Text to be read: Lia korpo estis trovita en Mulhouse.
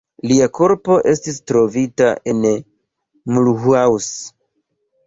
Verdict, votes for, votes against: rejected, 1, 3